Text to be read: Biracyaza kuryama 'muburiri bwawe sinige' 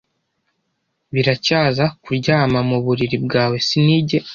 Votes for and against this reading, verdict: 2, 0, accepted